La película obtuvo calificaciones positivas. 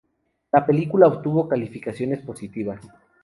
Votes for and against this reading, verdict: 0, 2, rejected